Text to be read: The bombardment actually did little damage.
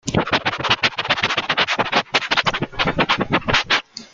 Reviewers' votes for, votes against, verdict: 0, 2, rejected